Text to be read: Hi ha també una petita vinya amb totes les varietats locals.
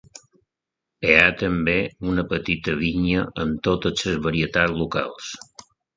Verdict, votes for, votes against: rejected, 1, 2